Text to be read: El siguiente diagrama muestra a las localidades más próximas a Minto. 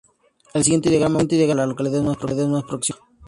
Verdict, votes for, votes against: rejected, 0, 4